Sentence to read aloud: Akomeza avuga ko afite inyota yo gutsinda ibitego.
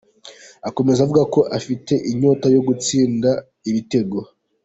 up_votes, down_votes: 3, 0